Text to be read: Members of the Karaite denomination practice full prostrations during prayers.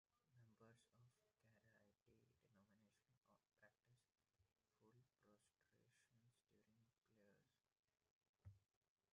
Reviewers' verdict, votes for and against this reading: rejected, 0, 2